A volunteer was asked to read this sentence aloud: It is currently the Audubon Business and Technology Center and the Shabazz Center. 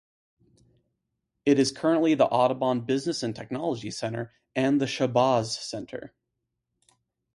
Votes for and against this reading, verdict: 4, 0, accepted